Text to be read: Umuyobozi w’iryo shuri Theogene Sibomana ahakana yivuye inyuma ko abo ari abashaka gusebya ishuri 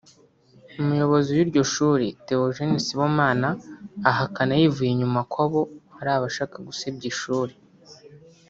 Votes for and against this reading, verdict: 2, 0, accepted